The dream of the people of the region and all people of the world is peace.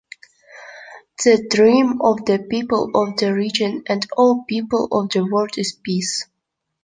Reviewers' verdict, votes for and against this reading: accepted, 2, 0